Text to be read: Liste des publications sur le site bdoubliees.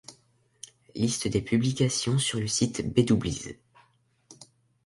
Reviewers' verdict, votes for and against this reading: accepted, 2, 0